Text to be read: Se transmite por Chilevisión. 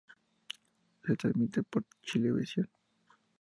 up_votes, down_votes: 2, 0